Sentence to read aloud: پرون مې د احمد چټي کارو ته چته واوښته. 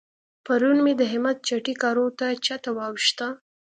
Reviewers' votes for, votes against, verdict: 1, 2, rejected